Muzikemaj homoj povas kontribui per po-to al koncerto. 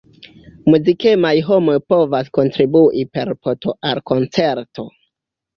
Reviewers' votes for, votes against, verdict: 2, 0, accepted